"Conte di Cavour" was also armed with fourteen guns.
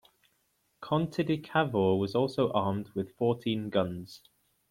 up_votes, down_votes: 2, 1